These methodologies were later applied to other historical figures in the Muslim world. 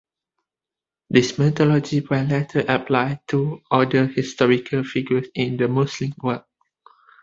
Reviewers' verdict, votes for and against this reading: rejected, 1, 2